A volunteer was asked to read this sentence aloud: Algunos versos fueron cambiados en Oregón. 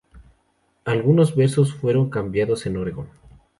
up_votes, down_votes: 2, 2